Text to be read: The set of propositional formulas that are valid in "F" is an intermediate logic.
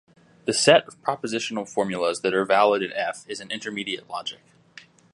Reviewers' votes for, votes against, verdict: 2, 1, accepted